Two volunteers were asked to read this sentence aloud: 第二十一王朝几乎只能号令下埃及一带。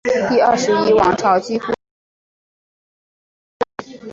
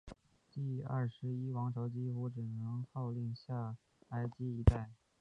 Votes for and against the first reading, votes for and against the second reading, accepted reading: 1, 2, 2, 1, second